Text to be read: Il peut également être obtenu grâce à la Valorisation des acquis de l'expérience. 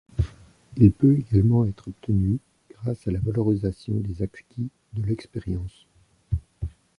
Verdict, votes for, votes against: rejected, 1, 2